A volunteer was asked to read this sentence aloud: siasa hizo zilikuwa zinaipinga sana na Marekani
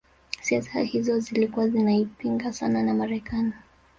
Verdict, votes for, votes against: rejected, 2, 3